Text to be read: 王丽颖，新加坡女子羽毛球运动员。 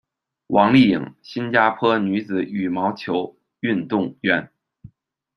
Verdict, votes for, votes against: accepted, 2, 0